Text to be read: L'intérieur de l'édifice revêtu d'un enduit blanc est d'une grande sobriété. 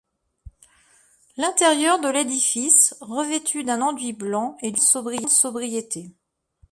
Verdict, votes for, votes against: rejected, 0, 2